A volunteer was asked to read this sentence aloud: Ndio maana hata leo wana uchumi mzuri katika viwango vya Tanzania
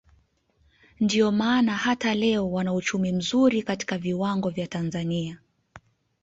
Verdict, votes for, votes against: accepted, 2, 0